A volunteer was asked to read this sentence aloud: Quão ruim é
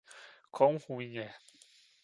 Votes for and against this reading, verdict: 1, 2, rejected